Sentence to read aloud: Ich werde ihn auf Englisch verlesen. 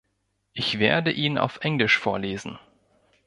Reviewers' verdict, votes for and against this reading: rejected, 0, 2